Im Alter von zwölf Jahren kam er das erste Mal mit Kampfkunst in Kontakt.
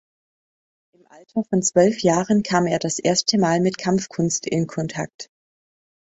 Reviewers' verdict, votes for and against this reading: accepted, 2, 0